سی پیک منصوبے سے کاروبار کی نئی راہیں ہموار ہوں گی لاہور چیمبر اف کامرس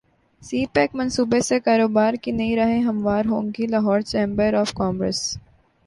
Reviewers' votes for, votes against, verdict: 1, 2, rejected